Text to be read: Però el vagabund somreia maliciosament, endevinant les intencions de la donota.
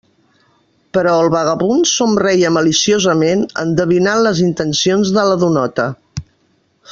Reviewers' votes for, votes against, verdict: 3, 0, accepted